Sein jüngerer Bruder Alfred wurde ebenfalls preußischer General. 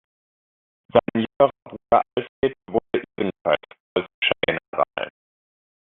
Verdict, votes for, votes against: rejected, 0, 2